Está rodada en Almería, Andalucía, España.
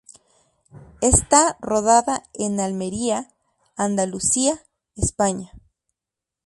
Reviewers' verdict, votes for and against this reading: accepted, 2, 0